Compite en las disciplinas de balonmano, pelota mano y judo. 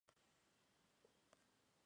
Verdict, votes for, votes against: rejected, 0, 2